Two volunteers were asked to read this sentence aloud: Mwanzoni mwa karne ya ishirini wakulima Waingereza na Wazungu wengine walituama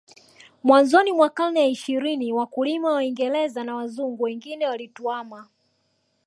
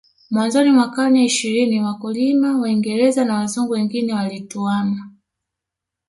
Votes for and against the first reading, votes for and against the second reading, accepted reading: 3, 0, 0, 2, first